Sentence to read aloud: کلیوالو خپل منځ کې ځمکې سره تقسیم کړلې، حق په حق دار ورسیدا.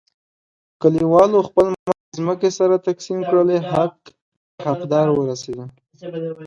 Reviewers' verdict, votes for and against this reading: rejected, 1, 2